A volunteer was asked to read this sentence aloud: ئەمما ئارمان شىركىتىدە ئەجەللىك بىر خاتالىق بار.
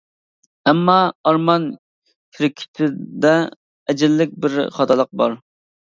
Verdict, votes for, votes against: rejected, 0, 2